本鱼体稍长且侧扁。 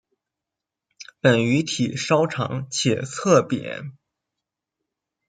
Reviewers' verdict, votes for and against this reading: accepted, 2, 0